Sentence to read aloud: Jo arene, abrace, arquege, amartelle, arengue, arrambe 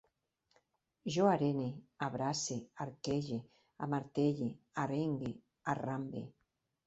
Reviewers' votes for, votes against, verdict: 2, 0, accepted